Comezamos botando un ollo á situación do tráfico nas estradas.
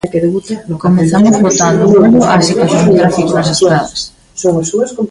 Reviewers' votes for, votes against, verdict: 0, 2, rejected